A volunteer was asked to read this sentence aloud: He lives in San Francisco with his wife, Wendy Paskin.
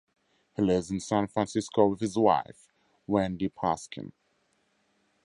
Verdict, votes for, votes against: accepted, 4, 2